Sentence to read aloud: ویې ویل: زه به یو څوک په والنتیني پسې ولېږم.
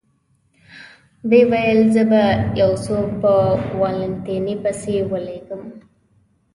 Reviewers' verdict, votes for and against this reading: accepted, 2, 0